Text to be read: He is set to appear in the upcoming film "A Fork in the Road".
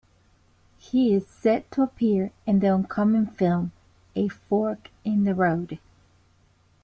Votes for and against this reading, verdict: 3, 0, accepted